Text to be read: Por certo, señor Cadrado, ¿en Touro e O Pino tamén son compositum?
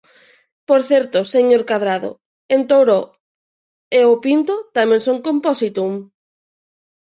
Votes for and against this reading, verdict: 0, 2, rejected